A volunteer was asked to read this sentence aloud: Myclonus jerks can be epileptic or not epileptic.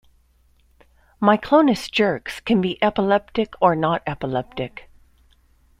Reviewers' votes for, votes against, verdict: 2, 0, accepted